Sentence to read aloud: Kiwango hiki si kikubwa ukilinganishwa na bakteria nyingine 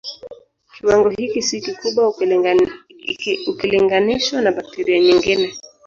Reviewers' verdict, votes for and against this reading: rejected, 0, 2